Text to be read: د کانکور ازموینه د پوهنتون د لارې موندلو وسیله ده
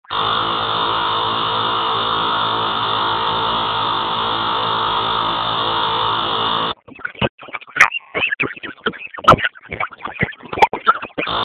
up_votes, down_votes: 0, 2